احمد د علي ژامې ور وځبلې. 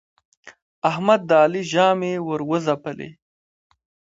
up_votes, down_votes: 2, 1